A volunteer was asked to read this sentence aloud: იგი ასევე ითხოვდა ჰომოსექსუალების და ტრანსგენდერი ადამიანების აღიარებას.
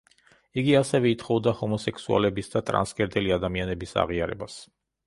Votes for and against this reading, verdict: 0, 2, rejected